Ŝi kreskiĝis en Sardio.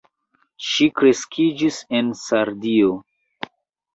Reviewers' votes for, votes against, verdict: 2, 1, accepted